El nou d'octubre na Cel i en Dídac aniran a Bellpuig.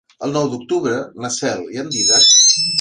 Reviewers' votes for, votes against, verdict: 1, 2, rejected